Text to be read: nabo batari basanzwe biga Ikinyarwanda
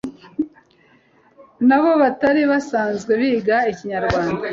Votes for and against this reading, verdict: 2, 0, accepted